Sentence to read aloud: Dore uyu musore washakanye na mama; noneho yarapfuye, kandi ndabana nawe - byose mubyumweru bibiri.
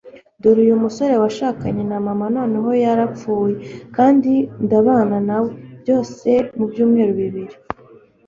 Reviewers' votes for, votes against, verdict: 2, 0, accepted